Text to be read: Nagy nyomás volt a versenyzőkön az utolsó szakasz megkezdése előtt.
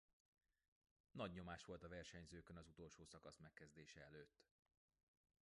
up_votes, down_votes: 1, 2